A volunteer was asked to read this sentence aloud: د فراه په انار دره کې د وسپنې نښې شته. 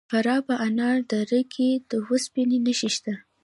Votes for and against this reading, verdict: 2, 0, accepted